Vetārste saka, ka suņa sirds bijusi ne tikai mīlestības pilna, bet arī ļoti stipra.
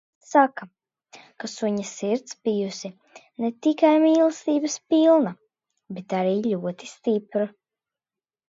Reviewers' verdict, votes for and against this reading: rejected, 0, 2